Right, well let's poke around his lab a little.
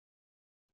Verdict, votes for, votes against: rejected, 0, 2